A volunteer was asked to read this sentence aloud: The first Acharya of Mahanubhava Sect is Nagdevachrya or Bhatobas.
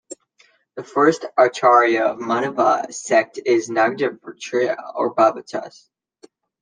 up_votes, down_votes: 0, 2